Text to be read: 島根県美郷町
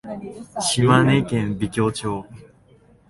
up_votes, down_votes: 2, 1